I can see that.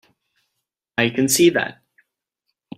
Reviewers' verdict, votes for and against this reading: accepted, 3, 0